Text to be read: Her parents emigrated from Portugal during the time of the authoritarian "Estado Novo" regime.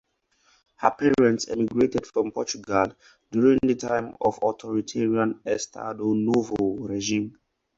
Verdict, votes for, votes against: rejected, 0, 4